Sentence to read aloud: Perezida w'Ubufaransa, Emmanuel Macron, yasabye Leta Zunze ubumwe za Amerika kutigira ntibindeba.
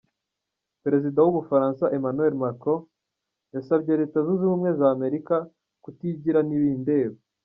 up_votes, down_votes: 2, 0